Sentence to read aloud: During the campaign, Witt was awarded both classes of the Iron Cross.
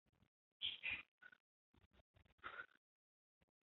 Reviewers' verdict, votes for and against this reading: rejected, 0, 2